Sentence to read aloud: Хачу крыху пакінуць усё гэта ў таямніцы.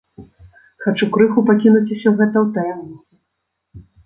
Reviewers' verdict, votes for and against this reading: rejected, 0, 2